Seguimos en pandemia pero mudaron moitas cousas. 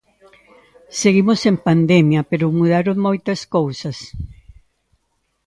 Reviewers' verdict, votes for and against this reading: rejected, 1, 2